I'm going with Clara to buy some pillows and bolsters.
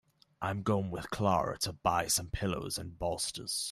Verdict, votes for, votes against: accepted, 2, 0